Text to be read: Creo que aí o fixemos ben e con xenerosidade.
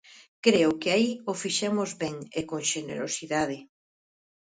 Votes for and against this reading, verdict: 4, 0, accepted